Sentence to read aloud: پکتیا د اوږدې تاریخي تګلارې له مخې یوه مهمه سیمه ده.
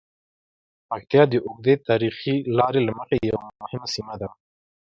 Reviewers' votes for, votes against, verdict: 2, 4, rejected